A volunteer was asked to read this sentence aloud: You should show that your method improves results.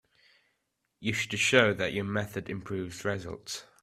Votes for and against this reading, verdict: 2, 0, accepted